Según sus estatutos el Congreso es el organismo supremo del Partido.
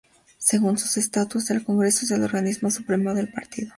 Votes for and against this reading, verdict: 2, 0, accepted